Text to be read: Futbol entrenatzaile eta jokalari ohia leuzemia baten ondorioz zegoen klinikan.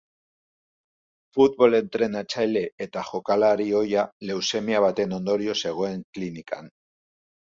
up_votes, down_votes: 2, 0